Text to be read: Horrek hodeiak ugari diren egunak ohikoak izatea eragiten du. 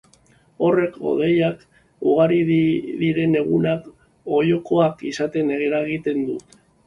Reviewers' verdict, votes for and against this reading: rejected, 0, 2